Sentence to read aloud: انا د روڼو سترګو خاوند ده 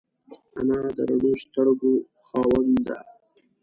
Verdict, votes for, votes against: rejected, 0, 2